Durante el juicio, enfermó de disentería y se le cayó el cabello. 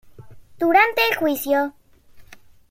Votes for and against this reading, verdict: 0, 2, rejected